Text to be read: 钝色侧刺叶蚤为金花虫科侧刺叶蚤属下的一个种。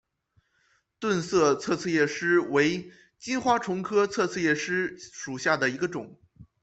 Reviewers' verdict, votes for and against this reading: accepted, 2, 1